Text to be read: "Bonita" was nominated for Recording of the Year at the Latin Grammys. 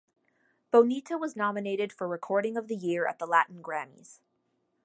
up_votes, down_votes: 2, 0